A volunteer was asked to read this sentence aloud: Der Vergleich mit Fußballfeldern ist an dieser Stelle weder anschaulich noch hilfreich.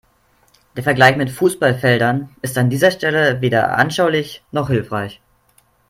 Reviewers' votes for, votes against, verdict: 4, 0, accepted